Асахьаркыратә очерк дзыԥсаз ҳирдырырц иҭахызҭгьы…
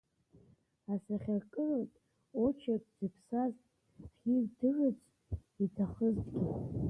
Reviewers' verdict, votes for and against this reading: rejected, 1, 2